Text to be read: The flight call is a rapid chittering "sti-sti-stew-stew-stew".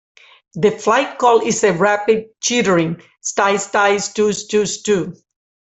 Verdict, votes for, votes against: rejected, 1, 2